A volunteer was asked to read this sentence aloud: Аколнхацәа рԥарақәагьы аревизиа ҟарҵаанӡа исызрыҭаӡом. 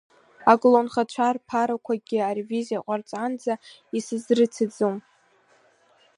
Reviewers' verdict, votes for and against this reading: rejected, 1, 6